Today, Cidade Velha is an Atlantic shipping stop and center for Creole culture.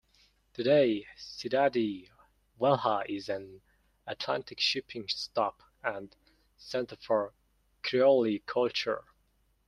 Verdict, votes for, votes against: rejected, 0, 2